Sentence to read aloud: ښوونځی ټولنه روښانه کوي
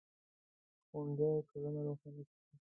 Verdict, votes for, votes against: rejected, 0, 2